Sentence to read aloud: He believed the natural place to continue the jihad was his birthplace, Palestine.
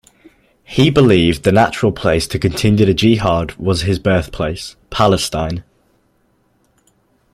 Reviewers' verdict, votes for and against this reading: accepted, 2, 0